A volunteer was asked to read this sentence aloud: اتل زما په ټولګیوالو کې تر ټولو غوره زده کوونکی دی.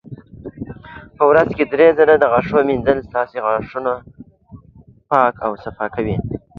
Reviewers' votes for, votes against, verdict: 0, 2, rejected